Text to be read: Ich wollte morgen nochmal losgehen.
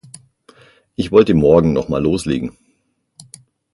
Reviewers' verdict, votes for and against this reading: rejected, 0, 6